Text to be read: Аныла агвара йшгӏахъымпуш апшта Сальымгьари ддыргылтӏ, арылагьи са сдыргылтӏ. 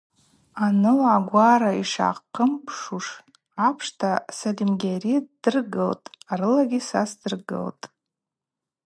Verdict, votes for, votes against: rejected, 0, 2